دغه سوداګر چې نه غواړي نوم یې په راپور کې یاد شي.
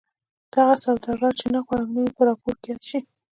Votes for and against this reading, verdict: 1, 2, rejected